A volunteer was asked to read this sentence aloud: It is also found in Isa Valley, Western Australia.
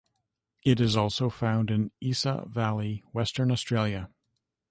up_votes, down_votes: 2, 0